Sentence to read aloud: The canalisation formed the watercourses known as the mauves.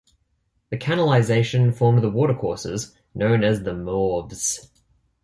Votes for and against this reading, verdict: 2, 0, accepted